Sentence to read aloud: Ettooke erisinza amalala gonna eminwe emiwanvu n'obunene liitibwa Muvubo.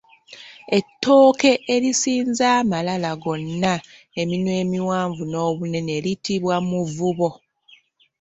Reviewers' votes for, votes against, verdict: 0, 2, rejected